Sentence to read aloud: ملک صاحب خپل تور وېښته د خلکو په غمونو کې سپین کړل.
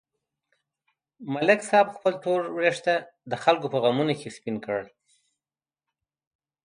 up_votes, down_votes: 2, 0